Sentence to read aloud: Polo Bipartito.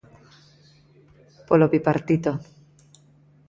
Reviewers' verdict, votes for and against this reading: accepted, 3, 0